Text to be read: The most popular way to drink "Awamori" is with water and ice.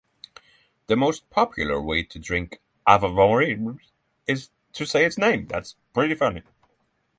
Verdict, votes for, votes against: rejected, 0, 3